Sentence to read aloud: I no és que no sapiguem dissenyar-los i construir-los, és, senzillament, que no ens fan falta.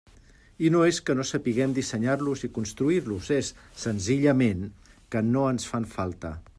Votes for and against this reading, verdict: 3, 0, accepted